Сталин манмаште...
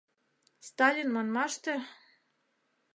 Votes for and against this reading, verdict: 2, 0, accepted